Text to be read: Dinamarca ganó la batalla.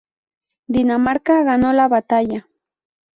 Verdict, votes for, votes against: accepted, 2, 0